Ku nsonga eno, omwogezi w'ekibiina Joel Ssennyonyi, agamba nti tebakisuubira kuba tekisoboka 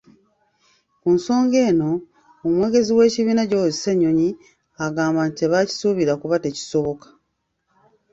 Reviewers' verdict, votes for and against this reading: rejected, 1, 2